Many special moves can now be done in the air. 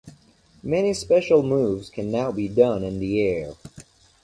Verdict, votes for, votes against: accepted, 2, 0